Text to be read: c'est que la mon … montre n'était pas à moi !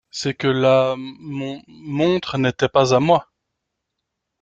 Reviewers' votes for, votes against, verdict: 2, 0, accepted